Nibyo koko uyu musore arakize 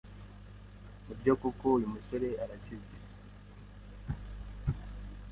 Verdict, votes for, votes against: rejected, 1, 2